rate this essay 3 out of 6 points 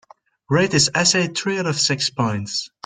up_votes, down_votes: 0, 2